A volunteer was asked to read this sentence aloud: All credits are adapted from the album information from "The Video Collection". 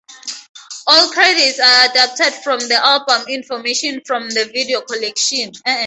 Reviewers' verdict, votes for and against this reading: rejected, 0, 4